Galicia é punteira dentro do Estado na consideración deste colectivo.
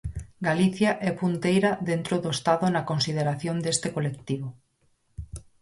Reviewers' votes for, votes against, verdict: 4, 0, accepted